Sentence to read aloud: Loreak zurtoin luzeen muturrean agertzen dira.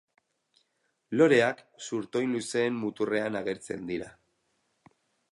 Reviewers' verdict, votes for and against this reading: rejected, 0, 2